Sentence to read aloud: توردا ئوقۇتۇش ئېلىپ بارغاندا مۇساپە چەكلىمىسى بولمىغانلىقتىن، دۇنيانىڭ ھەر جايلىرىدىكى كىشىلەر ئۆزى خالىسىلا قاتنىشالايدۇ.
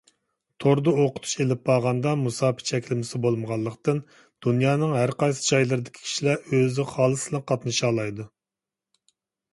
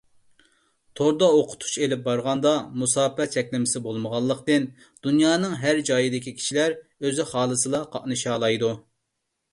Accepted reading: first